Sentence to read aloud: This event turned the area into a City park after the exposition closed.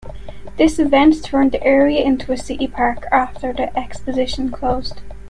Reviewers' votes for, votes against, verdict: 2, 0, accepted